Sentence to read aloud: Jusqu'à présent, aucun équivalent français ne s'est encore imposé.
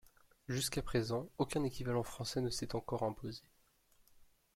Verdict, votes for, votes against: accepted, 2, 1